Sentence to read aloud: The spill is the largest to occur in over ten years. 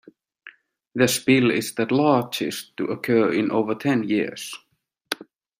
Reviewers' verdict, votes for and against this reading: accepted, 2, 1